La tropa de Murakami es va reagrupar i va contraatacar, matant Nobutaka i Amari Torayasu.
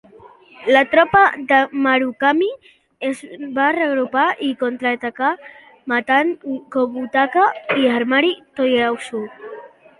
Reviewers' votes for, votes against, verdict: 0, 2, rejected